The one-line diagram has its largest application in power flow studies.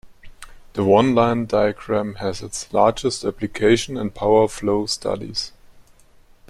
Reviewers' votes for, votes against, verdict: 6, 1, accepted